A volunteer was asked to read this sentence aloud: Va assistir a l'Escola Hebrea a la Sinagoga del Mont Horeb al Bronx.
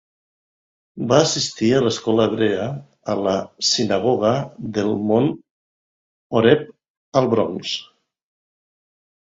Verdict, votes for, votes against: rejected, 1, 2